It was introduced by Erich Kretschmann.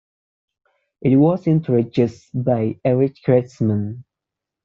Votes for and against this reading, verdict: 1, 2, rejected